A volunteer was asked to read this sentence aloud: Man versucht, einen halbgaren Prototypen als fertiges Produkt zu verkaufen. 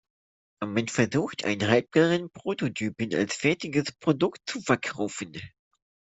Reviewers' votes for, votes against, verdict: 1, 2, rejected